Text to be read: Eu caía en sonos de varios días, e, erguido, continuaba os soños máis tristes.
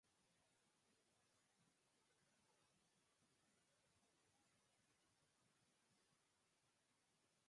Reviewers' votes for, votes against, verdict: 0, 4, rejected